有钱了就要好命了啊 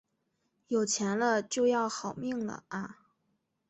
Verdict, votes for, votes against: accepted, 3, 0